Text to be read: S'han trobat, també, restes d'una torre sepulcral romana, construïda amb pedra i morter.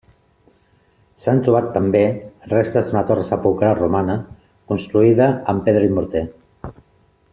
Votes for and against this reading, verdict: 2, 0, accepted